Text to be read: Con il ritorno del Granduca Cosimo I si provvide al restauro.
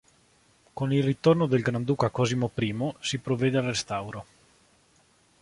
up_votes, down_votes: 1, 2